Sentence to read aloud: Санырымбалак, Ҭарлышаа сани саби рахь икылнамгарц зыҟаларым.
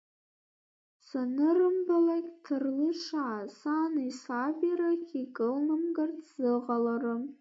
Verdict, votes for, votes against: rejected, 0, 2